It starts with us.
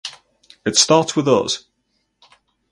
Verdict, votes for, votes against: accepted, 6, 0